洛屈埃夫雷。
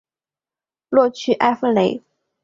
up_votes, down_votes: 2, 0